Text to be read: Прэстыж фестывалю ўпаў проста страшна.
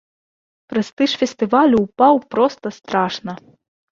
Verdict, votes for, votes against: accepted, 2, 0